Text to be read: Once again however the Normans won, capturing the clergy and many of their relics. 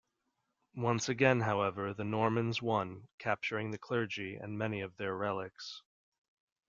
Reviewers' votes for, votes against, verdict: 2, 0, accepted